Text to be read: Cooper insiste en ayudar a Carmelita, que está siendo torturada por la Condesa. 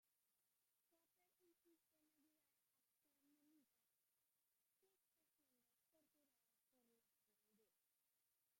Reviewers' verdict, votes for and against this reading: rejected, 0, 2